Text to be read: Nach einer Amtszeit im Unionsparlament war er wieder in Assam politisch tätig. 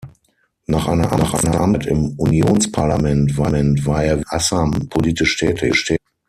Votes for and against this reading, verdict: 0, 6, rejected